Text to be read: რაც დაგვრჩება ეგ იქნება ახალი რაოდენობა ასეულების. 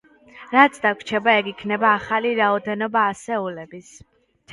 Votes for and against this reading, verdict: 1, 2, rejected